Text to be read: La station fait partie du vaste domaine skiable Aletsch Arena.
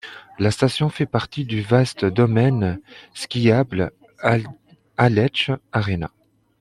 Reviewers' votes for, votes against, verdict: 2, 1, accepted